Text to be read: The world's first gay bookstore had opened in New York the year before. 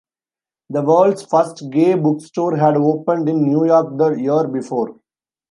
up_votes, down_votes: 2, 1